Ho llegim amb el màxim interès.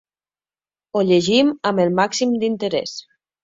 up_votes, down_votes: 0, 2